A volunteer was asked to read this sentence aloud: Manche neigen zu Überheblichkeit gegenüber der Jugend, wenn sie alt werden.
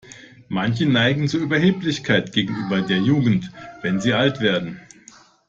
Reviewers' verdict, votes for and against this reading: accepted, 2, 0